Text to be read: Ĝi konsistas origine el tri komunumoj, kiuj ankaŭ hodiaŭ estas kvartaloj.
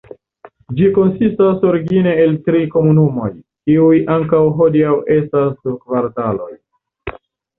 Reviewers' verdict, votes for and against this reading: rejected, 0, 2